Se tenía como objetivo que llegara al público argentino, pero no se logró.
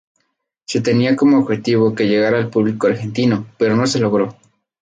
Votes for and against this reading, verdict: 0, 2, rejected